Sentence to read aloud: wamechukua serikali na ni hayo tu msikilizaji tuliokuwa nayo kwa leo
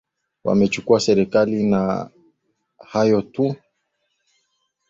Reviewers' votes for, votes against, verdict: 1, 2, rejected